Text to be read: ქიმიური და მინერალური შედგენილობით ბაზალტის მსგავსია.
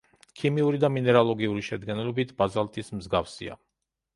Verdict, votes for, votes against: rejected, 2, 3